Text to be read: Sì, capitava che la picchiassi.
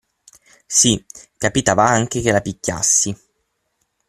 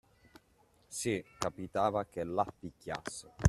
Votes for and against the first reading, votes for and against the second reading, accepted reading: 0, 6, 2, 1, second